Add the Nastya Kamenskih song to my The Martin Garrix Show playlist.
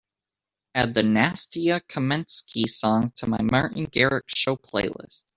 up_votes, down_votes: 2, 0